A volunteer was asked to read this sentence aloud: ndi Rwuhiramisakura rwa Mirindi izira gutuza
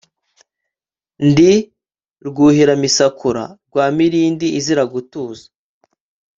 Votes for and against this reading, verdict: 1, 2, rejected